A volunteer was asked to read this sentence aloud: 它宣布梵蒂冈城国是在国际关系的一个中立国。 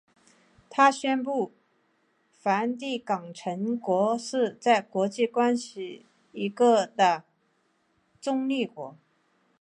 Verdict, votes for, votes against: accepted, 3, 0